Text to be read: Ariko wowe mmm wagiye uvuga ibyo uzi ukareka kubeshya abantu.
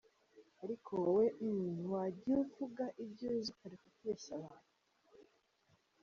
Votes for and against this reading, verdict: 0, 2, rejected